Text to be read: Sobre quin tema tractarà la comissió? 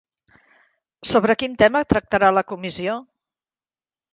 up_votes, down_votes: 1, 2